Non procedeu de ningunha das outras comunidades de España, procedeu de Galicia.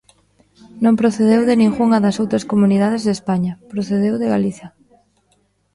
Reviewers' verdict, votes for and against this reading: accepted, 2, 0